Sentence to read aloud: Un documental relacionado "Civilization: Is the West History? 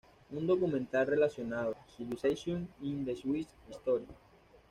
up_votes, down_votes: 1, 2